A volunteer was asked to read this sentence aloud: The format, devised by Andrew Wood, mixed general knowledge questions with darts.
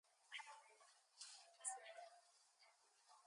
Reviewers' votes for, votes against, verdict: 0, 2, rejected